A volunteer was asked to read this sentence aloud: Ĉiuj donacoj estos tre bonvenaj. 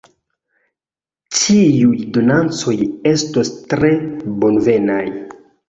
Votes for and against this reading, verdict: 0, 2, rejected